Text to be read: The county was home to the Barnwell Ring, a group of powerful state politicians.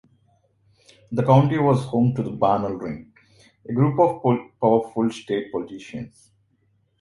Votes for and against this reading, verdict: 1, 2, rejected